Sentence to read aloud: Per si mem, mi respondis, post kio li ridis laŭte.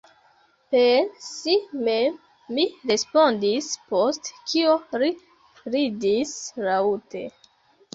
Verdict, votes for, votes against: rejected, 0, 3